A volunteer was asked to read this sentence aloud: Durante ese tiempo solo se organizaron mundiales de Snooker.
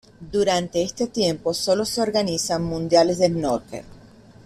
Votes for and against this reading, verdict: 0, 2, rejected